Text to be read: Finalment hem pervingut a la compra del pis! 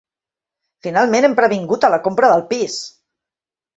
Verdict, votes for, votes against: rejected, 1, 2